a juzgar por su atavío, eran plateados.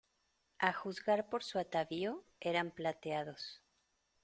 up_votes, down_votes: 2, 0